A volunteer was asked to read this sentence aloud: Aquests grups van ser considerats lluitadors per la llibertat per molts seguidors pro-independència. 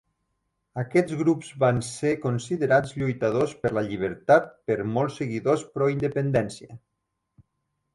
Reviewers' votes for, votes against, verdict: 3, 0, accepted